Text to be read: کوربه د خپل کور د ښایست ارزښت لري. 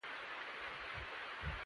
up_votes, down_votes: 0, 2